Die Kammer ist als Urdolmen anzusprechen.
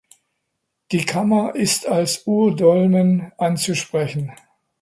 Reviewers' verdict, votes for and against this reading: accepted, 2, 0